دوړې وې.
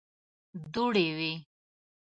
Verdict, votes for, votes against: accepted, 2, 0